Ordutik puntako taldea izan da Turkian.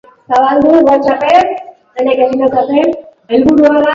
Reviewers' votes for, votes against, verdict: 1, 2, rejected